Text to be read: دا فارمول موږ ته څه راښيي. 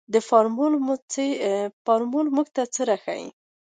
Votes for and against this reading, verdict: 2, 0, accepted